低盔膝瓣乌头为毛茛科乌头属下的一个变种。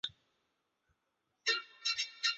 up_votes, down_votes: 0, 2